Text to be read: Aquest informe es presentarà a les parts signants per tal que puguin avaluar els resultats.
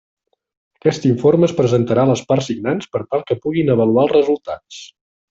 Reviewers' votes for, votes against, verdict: 2, 0, accepted